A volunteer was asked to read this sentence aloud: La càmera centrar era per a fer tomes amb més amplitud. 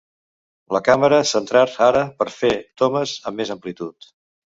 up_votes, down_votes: 1, 2